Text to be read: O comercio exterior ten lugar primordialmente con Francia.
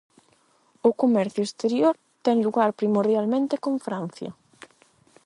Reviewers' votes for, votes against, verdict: 8, 0, accepted